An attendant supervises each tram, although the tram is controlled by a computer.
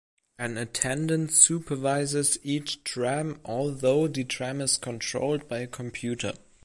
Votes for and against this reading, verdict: 2, 0, accepted